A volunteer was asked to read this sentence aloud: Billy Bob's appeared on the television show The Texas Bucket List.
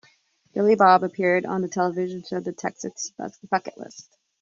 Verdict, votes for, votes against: rejected, 1, 2